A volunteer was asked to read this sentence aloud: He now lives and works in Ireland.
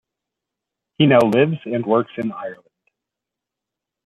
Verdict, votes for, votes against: accepted, 2, 0